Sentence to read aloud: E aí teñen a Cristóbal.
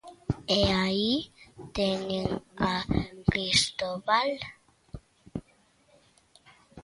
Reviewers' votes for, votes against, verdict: 1, 2, rejected